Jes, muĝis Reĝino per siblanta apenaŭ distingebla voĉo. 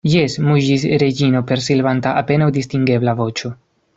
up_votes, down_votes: 1, 2